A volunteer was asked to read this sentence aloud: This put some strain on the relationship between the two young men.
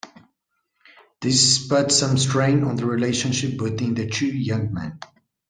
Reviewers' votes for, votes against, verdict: 1, 2, rejected